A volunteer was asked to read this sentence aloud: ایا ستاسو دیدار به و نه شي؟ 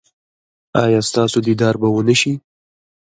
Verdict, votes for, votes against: rejected, 0, 2